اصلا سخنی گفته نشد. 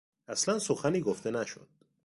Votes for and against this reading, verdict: 2, 0, accepted